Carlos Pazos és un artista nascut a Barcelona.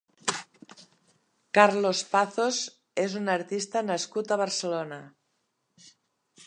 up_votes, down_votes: 1, 2